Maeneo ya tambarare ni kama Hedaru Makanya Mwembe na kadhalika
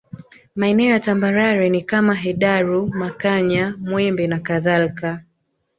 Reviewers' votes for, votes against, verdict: 4, 2, accepted